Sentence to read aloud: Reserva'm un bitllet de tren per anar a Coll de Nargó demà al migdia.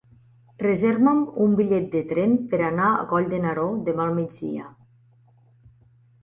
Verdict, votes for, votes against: rejected, 0, 2